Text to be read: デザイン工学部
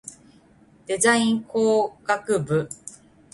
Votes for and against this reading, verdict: 2, 0, accepted